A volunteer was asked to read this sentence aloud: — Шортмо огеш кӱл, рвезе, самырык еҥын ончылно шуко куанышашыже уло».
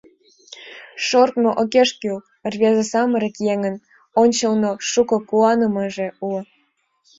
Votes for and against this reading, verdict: 1, 2, rejected